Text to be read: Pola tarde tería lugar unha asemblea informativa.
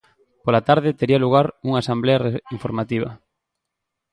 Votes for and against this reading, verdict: 0, 3, rejected